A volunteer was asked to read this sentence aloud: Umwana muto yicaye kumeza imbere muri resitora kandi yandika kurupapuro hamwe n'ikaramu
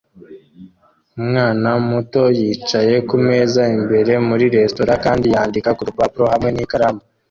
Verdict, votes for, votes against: accepted, 2, 0